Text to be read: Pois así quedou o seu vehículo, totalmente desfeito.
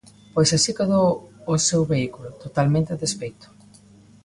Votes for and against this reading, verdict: 1, 2, rejected